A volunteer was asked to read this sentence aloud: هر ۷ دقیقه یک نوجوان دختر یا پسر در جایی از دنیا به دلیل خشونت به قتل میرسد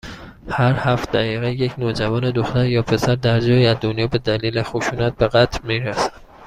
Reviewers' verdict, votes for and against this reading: rejected, 0, 2